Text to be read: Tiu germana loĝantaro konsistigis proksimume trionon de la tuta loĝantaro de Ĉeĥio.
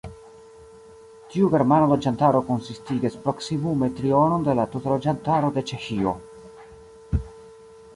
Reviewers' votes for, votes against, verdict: 1, 2, rejected